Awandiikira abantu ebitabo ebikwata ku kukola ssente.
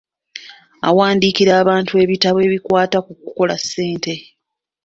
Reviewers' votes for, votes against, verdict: 2, 0, accepted